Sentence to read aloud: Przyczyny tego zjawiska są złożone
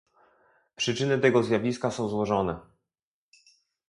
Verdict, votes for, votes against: accepted, 2, 0